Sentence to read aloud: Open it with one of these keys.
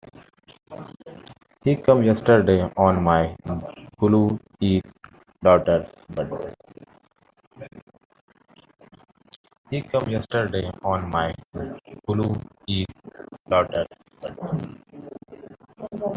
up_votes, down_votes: 0, 2